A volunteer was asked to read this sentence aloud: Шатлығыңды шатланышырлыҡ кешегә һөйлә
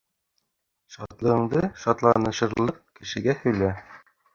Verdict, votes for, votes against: rejected, 1, 2